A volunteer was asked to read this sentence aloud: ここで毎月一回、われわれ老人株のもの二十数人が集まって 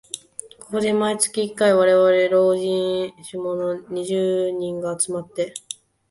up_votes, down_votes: 1, 2